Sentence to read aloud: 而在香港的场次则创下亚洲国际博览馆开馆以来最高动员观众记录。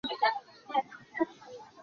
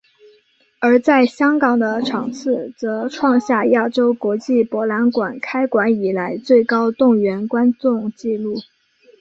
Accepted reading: second